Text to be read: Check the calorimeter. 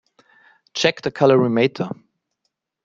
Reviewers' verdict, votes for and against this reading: rejected, 1, 2